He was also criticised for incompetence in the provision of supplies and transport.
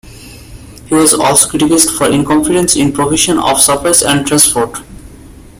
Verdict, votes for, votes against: rejected, 0, 2